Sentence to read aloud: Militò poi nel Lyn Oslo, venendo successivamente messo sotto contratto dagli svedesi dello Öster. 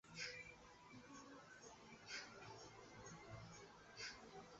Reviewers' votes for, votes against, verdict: 0, 2, rejected